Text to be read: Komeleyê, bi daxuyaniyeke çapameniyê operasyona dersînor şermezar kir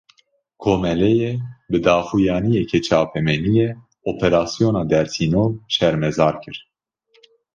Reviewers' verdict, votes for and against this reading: accepted, 2, 0